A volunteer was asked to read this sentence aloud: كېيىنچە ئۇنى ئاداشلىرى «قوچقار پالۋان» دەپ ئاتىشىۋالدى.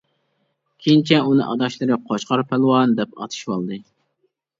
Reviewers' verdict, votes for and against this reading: accepted, 2, 0